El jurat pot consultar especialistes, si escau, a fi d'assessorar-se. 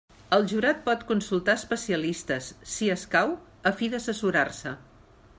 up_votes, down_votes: 2, 0